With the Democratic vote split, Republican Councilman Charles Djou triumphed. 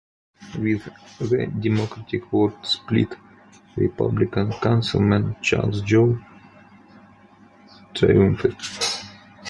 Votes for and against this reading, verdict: 0, 2, rejected